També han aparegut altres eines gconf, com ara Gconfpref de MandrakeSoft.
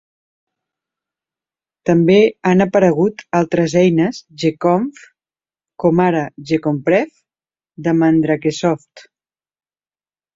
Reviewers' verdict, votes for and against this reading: accepted, 3, 0